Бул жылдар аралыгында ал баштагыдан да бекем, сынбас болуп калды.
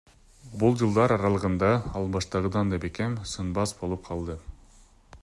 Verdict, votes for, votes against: accepted, 2, 0